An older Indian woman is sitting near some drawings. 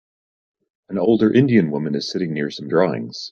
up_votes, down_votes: 2, 0